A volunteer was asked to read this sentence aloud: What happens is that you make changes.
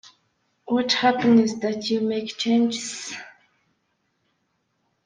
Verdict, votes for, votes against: rejected, 0, 2